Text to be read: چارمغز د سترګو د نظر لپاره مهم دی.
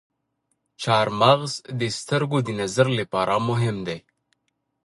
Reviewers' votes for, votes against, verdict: 2, 1, accepted